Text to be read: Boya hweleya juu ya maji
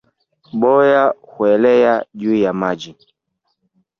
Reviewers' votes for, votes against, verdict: 1, 2, rejected